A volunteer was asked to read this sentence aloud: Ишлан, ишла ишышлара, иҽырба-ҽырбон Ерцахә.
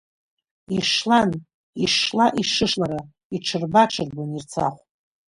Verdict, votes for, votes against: rejected, 1, 2